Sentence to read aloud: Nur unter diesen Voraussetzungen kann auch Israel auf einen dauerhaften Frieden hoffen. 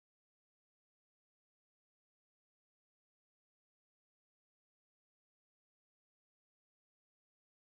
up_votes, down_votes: 0, 3